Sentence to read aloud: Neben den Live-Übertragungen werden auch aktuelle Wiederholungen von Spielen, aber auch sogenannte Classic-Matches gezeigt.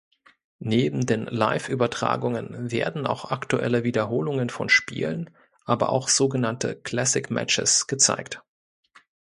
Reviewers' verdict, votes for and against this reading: accepted, 2, 0